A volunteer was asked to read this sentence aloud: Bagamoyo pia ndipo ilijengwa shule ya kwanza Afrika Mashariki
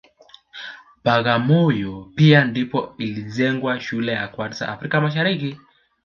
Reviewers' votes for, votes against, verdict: 2, 0, accepted